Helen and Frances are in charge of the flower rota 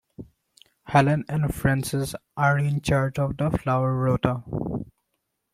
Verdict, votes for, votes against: accepted, 2, 0